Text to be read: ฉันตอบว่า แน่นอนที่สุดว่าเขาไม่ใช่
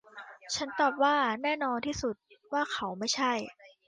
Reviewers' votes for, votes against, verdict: 2, 0, accepted